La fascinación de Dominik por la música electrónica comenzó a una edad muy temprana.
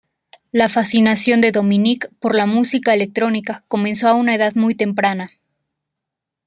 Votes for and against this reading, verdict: 2, 0, accepted